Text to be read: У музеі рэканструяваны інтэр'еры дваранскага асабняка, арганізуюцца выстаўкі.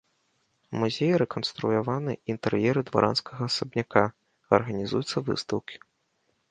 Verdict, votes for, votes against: accepted, 2, 0